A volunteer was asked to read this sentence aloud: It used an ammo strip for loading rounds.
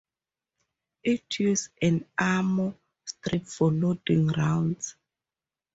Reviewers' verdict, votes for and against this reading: rejected, 0, 2